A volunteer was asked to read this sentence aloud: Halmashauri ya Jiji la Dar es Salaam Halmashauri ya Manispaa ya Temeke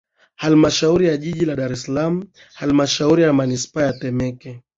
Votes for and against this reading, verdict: 0, 2, rejected